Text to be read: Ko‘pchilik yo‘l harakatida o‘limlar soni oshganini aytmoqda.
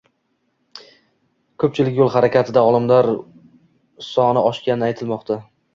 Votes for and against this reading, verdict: 1, 2, rejected